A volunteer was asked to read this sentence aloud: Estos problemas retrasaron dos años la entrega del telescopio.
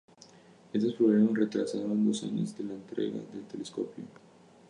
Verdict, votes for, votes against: rejected, 0, 2